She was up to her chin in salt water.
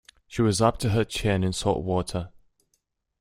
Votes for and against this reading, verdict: 2, 0, accepted